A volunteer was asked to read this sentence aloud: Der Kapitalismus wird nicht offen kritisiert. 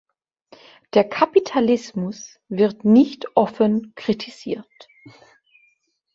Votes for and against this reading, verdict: 3, 0, accepted